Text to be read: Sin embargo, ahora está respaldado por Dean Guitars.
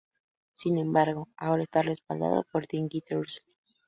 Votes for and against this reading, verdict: 0, 2, rejected